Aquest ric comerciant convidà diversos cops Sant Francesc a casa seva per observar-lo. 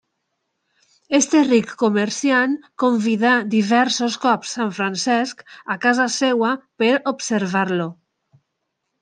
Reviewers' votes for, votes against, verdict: 2, 1, accepted